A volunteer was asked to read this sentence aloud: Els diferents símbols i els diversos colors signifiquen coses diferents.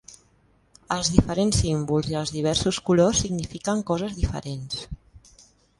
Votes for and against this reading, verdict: 2, 0, accepted